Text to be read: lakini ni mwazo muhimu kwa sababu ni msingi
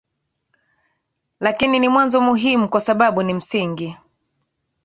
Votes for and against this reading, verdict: 3, 0, accepted